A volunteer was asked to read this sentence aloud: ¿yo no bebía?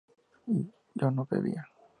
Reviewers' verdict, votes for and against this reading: accepted, 4, 0